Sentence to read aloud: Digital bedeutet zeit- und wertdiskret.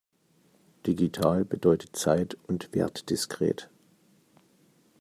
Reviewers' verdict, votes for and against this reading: accepted, 2, 0